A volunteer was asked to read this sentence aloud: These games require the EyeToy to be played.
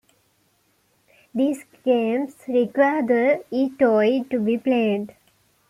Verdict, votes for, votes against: accepted, 2, 1